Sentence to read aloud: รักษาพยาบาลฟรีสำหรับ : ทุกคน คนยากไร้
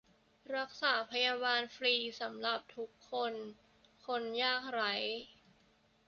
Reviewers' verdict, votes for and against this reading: accepted, 2, 0